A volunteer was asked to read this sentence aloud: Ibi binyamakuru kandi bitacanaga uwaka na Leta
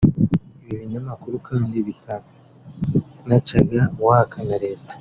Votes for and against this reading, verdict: 0, 2, rejected